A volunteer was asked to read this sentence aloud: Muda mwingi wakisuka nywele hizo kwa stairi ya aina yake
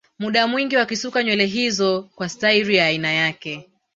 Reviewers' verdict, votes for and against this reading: rejected, 1, 2